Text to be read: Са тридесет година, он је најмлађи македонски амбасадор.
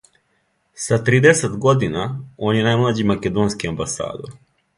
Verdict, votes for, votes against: accepted, 2, 0